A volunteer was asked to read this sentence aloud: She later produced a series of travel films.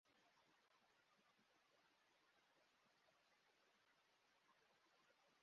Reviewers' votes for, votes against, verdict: 0, 2, rejected